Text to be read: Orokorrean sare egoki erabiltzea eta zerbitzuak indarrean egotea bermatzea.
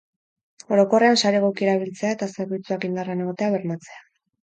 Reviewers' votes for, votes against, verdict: 0, 2, rejected